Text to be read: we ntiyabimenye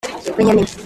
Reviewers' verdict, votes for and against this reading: rejected, 0, 2